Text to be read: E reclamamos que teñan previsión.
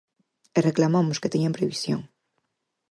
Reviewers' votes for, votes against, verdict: 4, 0, accepted